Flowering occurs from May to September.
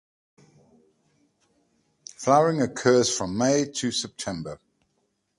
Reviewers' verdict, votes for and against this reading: accepted, 2, 0